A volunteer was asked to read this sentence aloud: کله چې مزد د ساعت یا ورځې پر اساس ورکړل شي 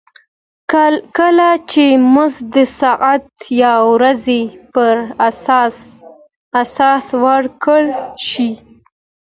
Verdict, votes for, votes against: accepted, 2, 1